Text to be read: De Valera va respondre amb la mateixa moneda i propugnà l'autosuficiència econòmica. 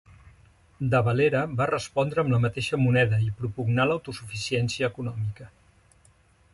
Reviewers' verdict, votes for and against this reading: accepted, 2, 0